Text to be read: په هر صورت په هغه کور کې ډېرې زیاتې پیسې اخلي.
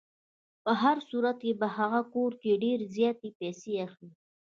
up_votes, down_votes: 1, 2